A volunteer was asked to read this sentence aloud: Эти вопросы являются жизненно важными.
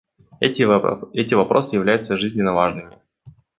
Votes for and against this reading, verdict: 1, 2, rejected